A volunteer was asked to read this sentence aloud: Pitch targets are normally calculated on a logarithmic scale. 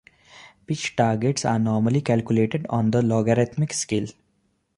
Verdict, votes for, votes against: accepted, 2, 0